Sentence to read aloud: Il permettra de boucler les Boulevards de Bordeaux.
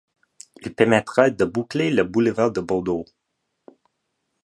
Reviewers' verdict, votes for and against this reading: rejected, 1, 2